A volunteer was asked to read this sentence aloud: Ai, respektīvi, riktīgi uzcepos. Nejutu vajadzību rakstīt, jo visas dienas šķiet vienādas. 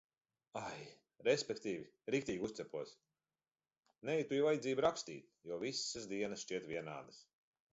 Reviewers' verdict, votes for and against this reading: rejected, 0, 2